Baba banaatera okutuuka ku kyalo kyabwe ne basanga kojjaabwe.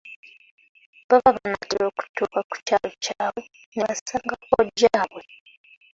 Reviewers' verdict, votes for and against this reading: rejected, 1, 2